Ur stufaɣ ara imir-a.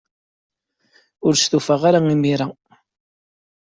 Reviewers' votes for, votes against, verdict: 2, 0, accepted